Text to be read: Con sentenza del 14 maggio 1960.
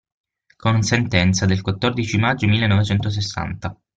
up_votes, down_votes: 0, 2